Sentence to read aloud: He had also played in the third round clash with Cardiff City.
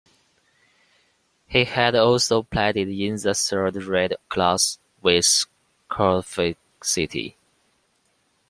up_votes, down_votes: 2, 0